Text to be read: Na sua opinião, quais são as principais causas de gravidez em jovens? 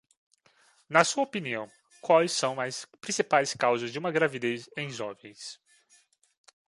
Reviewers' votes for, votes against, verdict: 1, 2, rejected